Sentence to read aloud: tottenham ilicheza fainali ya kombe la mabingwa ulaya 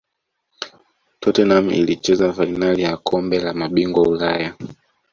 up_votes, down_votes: 2, 0